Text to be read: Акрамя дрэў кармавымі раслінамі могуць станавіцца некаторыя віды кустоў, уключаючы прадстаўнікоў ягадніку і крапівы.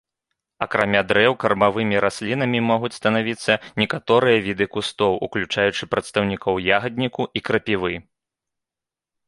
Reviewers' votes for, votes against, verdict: 2, 0, accepted